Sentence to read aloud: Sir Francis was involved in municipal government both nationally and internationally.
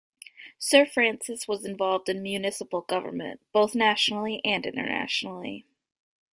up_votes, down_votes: 2, 0